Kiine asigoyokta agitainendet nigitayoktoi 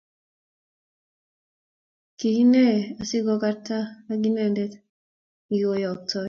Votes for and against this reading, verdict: 2, 0, accepted